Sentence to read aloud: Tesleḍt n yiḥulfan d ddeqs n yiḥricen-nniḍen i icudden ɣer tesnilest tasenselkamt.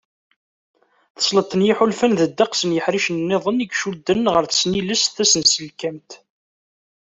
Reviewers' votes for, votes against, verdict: 2, 0, accepted